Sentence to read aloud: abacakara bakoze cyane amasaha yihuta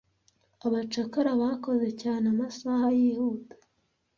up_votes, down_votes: 2, 0